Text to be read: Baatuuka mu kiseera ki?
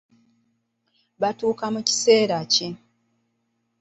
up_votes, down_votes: 1, 2